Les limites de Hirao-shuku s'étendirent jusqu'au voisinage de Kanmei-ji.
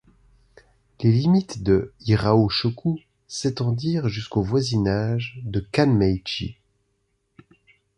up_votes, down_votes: 2, 0